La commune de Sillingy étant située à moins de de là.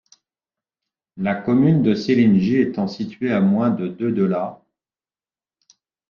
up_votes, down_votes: 1, 2